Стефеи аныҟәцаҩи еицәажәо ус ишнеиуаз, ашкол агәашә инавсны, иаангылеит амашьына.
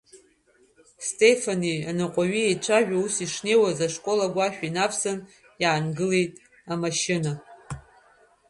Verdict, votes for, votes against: rejected, 1, 2